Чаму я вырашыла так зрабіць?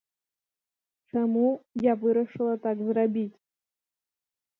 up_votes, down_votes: 1, 2